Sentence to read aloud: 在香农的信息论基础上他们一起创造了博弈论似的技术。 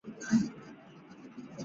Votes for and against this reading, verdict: 0, 3, rejected